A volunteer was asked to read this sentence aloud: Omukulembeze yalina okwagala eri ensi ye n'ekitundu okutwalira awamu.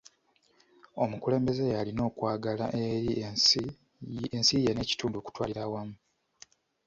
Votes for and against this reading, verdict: 1, 2, rejected